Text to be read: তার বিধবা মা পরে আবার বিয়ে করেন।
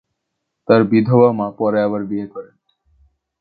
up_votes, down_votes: 2, 0